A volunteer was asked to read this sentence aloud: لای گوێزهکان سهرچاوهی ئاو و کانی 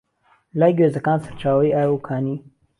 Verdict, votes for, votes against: accepted, 2, 0